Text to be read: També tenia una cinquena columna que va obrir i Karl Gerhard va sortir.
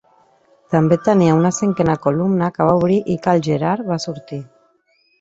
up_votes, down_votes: 1, 2